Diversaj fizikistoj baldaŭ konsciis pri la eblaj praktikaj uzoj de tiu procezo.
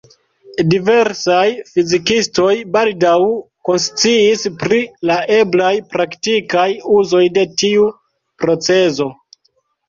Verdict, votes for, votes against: accepted, 2, 0